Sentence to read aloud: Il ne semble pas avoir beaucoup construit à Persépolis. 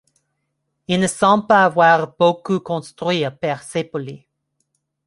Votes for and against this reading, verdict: 2, 0, accepted